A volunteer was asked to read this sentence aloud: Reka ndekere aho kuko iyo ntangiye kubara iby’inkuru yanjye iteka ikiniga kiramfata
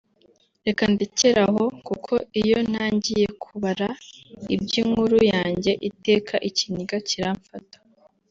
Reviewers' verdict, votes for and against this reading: accepted, 2, 0